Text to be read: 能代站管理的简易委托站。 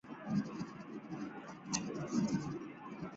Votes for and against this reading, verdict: 1, 3, rejected